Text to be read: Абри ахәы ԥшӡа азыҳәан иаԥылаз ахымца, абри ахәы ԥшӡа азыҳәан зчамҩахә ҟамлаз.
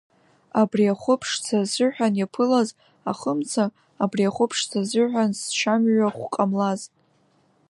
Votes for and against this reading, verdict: 2, 1, accepted